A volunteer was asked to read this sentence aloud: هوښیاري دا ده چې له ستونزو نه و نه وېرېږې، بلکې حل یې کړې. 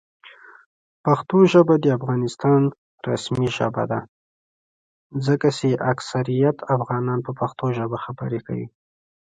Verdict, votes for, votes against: rejected, 1, 2